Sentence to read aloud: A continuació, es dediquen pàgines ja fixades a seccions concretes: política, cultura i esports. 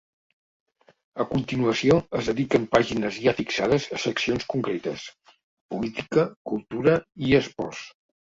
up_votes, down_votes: 0, 2